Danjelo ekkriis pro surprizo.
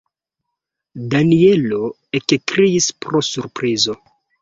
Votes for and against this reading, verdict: 2, 1, accepted